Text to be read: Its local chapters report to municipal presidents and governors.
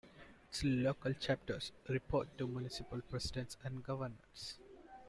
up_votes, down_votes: 2, 0